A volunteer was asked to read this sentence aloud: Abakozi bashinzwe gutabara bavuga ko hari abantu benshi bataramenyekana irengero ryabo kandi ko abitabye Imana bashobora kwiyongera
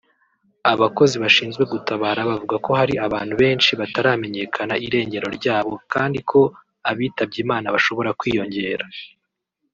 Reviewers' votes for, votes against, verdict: 2, 0, accepted